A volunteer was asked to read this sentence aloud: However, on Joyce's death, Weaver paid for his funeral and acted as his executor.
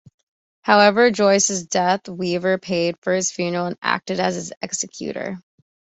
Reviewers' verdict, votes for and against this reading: accepted, 2, 0